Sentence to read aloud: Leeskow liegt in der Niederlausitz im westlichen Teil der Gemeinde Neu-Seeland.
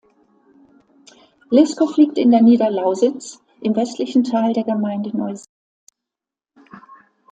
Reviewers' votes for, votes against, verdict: 0, 2, rejected